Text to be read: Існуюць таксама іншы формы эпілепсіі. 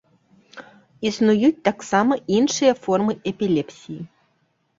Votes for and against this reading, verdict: 2, 1, accepted